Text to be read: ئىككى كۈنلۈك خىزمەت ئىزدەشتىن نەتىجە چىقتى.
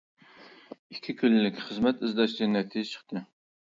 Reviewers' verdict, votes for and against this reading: rejected, 0, 2